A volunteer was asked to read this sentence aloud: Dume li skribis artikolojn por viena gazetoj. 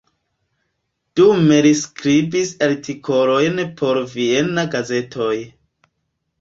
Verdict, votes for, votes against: rejected, 1, 2